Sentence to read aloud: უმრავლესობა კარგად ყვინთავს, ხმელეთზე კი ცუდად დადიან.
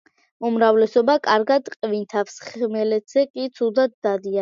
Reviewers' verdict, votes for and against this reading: accepted, 2, 1